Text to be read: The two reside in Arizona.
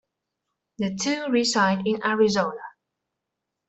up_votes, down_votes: 2, 0